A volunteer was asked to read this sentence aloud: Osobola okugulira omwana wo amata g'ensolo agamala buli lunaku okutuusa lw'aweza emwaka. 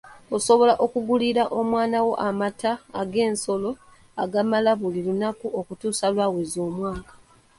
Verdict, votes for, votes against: rejected, 0, 2